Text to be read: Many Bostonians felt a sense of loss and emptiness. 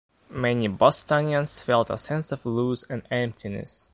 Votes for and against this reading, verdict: 0, 2, rejected